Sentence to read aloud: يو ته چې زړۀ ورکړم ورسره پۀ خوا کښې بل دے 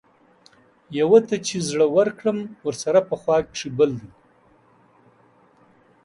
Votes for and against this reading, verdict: 2, 0, accepted